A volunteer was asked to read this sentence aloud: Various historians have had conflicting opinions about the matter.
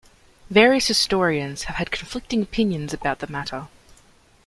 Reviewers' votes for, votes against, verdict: 2, 0, accepted